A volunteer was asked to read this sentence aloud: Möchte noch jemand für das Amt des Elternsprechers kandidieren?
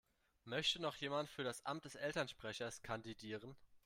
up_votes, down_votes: 2, 0